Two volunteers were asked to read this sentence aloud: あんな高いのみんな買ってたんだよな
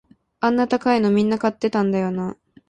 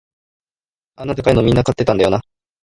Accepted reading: first